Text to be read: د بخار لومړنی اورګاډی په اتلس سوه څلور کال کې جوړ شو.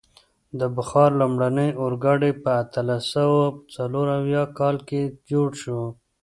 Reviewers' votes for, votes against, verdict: 2, 1, accepted